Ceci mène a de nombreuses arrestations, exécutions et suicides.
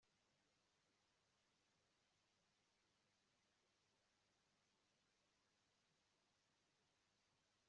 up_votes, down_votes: 0, 2